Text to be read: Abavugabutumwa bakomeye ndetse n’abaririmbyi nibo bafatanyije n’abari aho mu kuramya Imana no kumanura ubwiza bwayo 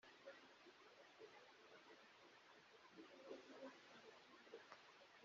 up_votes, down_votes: 0, 2